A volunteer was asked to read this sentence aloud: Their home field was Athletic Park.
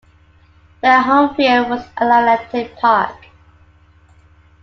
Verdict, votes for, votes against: accepted, 2, 1